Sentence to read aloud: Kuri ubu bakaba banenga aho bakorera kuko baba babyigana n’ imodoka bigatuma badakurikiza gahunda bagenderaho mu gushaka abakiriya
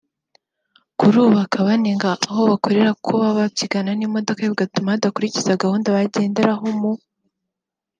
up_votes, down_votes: 0, 3